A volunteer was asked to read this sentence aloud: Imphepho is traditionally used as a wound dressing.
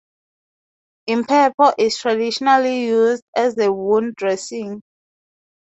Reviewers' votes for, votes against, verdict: 0, 2, rejected